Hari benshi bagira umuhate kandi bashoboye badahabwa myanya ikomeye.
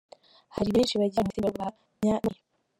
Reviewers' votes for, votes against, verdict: 0, 2, rejected